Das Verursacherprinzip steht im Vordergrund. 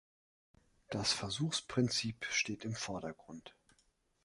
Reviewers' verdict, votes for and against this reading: rejected, 0, 2